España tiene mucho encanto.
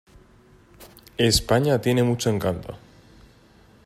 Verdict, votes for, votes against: accepted, 4, 0